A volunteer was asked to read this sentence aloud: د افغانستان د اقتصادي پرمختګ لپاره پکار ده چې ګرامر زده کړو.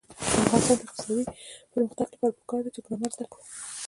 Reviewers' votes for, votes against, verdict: 2, 1, accepted